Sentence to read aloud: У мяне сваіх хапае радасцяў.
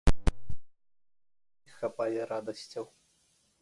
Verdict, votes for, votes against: rejected, 0, 2